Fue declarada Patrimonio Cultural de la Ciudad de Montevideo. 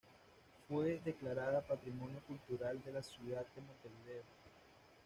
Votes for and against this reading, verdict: 2, 0, accepted